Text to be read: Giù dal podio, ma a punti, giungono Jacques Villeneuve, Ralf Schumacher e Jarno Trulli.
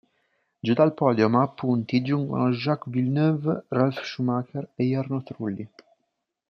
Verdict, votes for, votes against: accepted, 2, 1